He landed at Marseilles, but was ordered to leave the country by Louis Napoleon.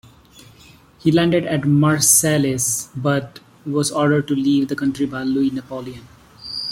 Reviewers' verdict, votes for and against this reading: accepted, 2, 0